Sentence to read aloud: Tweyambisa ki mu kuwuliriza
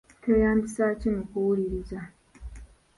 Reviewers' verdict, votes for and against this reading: accepted, 2, 0